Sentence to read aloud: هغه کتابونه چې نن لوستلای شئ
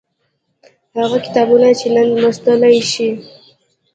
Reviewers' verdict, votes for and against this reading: accepted, 2, 0